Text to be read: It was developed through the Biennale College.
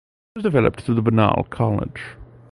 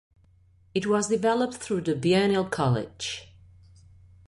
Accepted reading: second